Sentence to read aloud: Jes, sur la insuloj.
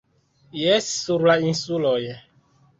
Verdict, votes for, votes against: accepted, 2, 1